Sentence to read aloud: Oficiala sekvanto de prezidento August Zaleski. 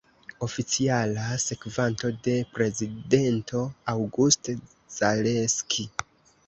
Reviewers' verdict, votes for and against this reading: accepted, 2, 0